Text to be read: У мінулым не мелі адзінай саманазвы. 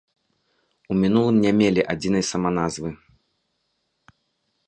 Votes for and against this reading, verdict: 2, 0, accepted